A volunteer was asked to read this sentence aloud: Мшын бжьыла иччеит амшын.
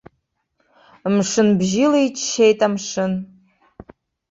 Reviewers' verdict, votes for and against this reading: accepted, 2, 0